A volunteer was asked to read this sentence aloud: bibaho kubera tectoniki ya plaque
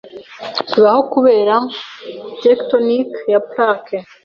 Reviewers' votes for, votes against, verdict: 2, 0, accepted